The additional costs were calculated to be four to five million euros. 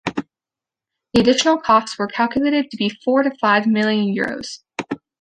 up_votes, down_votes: 0, 2